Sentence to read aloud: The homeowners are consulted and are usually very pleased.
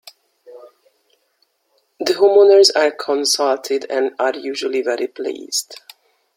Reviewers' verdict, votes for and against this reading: rejected, 1, 2